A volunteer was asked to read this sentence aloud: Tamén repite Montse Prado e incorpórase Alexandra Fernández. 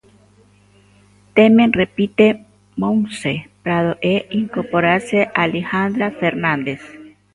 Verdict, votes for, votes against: rejected, 0, 2